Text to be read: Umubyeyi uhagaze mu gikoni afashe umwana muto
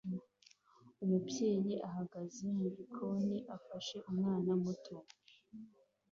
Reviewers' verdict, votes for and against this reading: accepted, 2, 0